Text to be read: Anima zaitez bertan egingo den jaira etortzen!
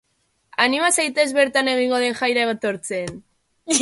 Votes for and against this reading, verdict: 2, 0, accepted